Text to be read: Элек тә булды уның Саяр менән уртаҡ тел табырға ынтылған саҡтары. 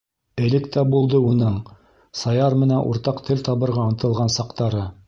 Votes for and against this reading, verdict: 2, 0, accepted